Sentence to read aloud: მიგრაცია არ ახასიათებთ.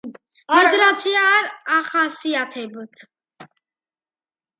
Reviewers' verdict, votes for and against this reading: accepted, 2, 1